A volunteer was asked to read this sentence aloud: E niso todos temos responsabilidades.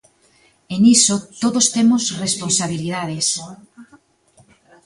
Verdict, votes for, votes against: rejected, 1, 2